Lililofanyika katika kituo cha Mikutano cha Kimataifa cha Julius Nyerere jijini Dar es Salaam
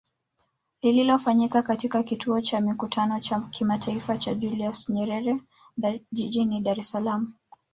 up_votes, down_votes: 3, 0